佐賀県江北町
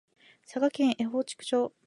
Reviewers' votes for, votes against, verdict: 2, 0, accepted